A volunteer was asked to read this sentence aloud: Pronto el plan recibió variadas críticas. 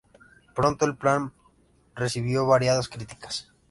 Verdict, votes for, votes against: accepted, 2, 0